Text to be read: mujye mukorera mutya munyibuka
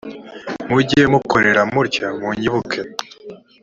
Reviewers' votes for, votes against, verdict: 3, 0, accepted